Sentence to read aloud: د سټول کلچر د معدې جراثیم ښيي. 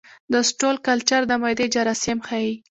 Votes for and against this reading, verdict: 1, 2, rejected